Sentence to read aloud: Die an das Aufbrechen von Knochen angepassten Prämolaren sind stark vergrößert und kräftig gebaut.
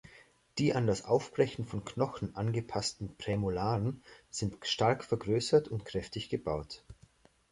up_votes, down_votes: 2, 0